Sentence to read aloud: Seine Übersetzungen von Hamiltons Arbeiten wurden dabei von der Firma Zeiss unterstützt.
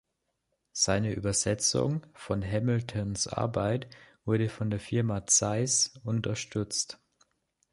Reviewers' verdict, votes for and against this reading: rejected, 0, 2